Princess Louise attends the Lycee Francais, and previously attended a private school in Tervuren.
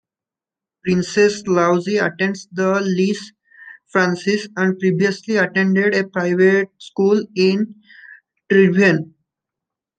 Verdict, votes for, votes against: rejected, 1, 2